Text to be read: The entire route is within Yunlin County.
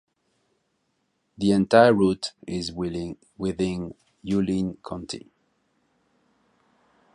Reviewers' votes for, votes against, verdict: 0, 2, rejected